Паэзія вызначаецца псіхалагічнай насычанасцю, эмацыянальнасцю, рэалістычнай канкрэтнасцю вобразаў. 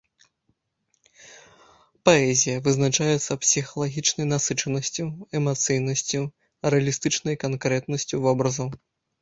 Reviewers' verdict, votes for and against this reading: rejected, 0, 2